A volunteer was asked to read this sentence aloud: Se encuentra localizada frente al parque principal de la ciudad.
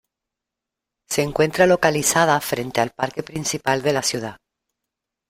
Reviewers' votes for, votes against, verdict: 0, 2, rejected